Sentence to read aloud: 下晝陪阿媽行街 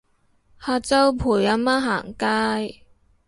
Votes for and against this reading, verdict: 2, 0, accepted